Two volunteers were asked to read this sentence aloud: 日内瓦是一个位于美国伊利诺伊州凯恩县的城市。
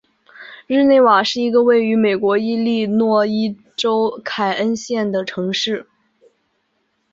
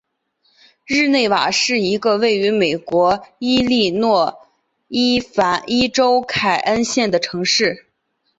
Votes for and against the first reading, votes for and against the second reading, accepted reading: 2, 0, 2, 5, first